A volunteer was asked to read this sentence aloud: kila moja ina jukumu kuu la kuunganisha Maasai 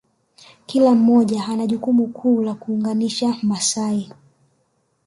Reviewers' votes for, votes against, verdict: 2, 1, accepted